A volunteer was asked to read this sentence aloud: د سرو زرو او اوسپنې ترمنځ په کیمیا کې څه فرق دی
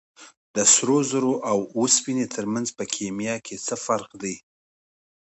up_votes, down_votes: 2, 0